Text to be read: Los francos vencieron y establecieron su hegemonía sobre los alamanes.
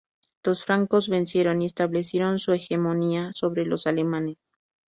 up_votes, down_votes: 0, 2